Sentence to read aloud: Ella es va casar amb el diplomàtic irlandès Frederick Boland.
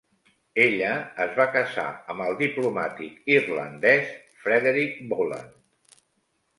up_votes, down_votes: 1, 2